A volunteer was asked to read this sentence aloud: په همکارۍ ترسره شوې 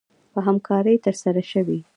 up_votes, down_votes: 1, 2